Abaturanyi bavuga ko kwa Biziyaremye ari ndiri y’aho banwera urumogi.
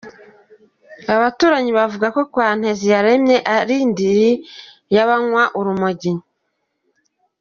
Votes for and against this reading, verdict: 0, 2, rejected